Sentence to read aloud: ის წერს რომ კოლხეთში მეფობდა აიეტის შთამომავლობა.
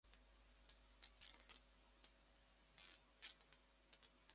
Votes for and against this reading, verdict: 0, 2, rejected